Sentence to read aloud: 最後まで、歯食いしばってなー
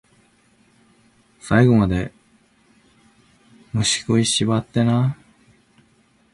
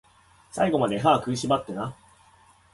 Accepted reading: second